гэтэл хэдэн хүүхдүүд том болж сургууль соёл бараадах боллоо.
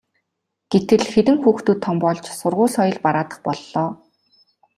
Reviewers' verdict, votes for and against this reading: accepted, 2, 0